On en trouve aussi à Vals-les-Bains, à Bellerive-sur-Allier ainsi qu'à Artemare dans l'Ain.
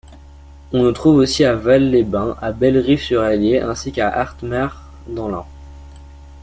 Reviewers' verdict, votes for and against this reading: accepted, 2, 1